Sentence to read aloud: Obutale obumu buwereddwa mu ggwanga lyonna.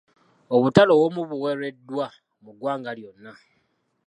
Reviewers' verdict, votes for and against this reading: accepted, 2, 0